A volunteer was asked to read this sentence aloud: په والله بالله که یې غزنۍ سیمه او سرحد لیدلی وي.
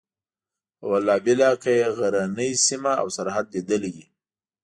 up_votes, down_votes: 2, 0